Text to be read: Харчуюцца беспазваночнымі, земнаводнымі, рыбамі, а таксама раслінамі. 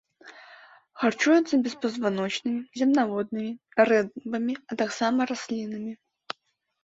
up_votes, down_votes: 2, 1